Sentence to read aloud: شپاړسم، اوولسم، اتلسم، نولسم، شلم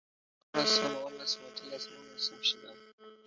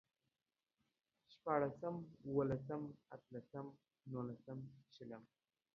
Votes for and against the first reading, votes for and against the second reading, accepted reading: 0, 2, 2, 0, second